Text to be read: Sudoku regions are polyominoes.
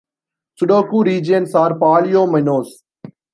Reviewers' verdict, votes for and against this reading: accepted, 2, 0